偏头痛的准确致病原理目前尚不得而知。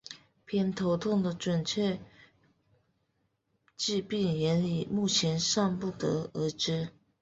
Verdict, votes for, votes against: rejected, 1, 2